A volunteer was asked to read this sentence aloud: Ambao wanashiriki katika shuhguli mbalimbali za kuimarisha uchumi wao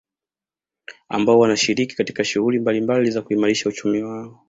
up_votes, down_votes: 2, 0